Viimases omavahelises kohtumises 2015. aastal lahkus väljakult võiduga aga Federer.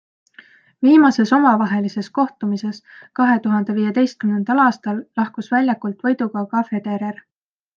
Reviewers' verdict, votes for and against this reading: rejected, 0, 2